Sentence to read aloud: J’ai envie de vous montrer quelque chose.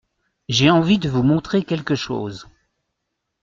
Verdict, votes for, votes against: accepted, 2, 0